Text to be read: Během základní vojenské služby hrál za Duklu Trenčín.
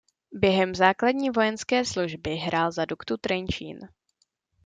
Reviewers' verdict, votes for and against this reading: rejected, 0, 2